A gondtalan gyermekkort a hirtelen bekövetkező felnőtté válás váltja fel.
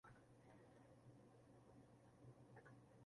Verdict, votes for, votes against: rejected, 0, 2